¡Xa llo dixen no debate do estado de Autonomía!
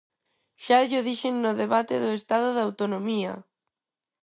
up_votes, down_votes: 4, 0